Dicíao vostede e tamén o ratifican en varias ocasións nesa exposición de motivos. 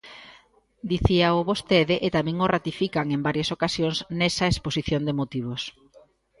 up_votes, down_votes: 2, 0